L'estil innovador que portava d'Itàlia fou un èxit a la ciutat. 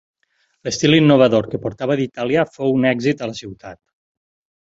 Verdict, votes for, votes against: accepted, 4, 0